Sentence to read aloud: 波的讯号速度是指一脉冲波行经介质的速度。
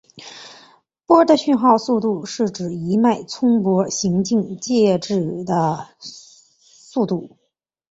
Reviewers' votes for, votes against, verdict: 8, 1, accepted